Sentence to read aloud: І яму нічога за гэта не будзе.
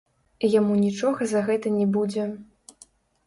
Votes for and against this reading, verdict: 0, 2, rejected